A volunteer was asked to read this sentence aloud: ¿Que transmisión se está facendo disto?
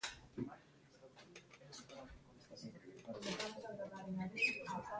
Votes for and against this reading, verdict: 0, 3, rejected